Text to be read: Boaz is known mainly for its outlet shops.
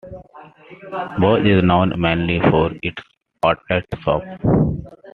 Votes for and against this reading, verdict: 1, 2, rejected